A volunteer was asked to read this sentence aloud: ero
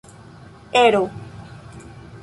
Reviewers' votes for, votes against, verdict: 2, 0, accepted